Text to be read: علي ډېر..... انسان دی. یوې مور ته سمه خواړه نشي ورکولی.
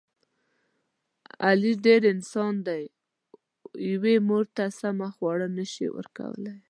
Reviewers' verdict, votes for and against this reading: rejected, 0, 2